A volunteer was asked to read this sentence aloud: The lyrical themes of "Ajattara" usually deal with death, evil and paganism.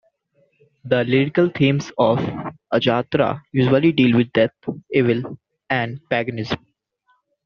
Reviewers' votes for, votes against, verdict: 2, 0, accepted